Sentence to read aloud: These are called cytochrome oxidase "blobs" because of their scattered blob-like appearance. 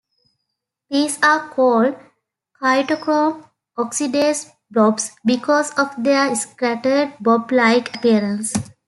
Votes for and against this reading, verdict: 2, 1, accepted